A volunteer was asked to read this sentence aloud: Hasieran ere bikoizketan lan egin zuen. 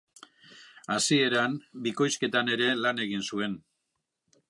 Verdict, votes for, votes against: rejected, 0, 2